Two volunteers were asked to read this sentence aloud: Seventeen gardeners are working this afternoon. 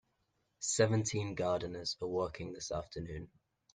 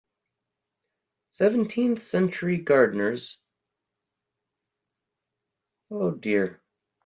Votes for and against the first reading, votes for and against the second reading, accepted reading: 2, 0, 0, 2, first